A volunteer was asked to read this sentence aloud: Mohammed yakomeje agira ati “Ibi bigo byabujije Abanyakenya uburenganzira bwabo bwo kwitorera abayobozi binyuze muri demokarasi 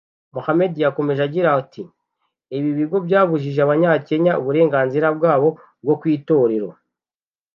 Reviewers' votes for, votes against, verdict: 0, 2, rejected